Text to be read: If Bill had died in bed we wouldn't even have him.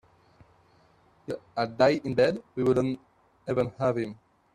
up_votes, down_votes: 0, 3